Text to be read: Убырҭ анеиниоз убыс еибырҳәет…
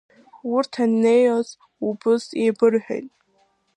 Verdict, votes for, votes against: accepted, 2, 1